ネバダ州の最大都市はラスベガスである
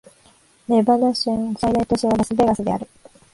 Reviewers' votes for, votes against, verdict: 2, 3, rejected